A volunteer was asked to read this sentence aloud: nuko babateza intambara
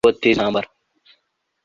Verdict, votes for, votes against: rejected, 0, 2